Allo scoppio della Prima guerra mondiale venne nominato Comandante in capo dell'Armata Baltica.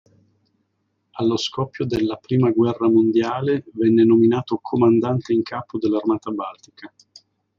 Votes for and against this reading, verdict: 2, 0, accepted